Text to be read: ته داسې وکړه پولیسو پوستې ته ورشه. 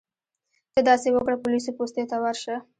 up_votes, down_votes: 2, 1